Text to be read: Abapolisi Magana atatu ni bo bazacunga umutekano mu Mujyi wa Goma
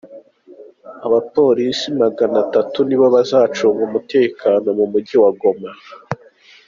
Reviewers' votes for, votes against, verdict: 2, 0, accepted